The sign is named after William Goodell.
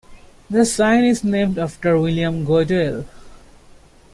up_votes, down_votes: 2, 0